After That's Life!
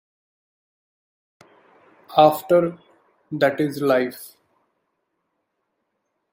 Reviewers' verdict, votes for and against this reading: rejected, 0, 2